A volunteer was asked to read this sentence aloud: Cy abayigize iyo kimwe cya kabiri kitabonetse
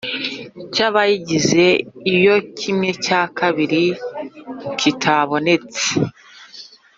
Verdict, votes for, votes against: accepted, 2, 0